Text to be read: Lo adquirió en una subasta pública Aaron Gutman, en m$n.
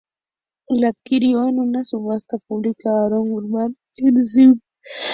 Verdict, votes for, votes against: rejected, 0, 2